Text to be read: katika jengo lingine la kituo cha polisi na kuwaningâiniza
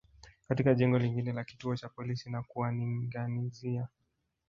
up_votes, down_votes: 3, 1